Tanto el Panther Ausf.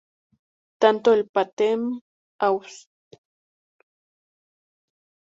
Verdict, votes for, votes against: rejected, 0, 2